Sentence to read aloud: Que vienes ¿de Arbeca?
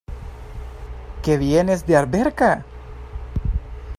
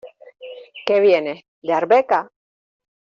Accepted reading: second